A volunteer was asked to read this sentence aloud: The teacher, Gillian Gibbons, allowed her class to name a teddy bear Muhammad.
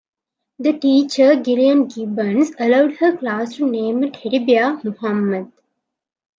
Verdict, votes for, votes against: accepted, 2, 0